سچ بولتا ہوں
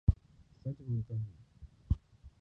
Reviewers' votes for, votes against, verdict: 2, 4, rejected